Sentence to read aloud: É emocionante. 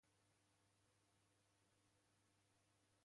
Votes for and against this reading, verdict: 0, 2, rejected